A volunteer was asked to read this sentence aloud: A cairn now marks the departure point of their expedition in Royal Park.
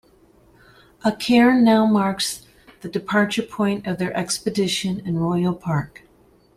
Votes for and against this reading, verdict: 2, 0, accepted